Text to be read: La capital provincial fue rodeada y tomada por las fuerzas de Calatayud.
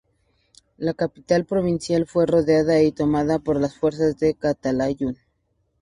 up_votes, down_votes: 4, 0